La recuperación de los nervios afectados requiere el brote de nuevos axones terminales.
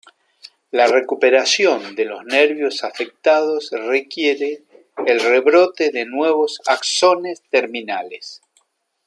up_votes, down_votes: 0, 2